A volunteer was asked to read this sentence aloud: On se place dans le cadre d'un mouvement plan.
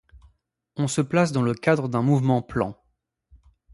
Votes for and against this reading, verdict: 2, 0, accepted